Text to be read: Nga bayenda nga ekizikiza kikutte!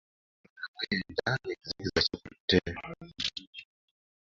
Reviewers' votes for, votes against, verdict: 1, 2, rejected